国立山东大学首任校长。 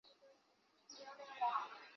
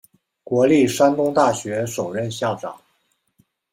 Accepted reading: second